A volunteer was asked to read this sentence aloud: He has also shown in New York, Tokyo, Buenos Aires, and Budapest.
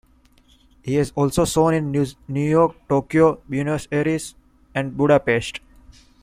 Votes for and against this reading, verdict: 1, 2, rejected